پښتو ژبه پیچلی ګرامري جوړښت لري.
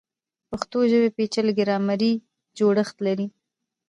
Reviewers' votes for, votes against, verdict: 1, 2, rejected